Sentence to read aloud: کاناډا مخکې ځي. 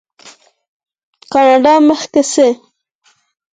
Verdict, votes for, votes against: accepted, 4, 0